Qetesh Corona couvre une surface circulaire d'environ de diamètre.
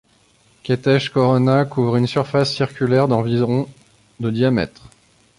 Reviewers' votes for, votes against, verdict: 2, 0, accepted